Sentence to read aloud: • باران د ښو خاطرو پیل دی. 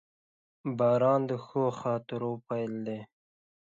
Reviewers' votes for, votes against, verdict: 2, 0, accepted